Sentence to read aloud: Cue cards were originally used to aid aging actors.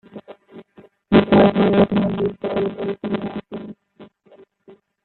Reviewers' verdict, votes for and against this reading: rejected, 0, 2